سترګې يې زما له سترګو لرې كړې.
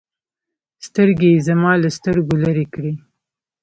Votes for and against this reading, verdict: 2, 0, accepted